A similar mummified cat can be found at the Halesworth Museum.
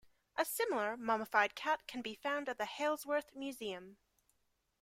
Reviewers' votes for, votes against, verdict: 2, 0, accepted